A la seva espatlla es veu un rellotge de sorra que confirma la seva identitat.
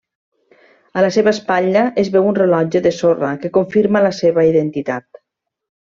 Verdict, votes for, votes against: rejected, 1, 2